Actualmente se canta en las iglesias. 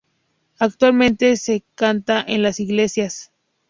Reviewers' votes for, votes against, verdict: 2, 0, accepted